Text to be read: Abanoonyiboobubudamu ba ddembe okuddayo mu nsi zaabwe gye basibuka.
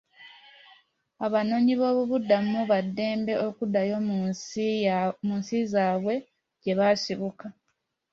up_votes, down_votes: 2, 0